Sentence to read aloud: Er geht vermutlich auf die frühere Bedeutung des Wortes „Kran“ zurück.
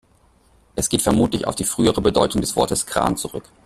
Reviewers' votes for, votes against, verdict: 0, 2, rejected